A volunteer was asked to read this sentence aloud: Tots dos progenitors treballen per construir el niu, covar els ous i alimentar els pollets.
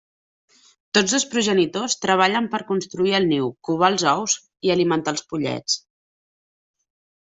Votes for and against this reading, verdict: 2, 0, accepted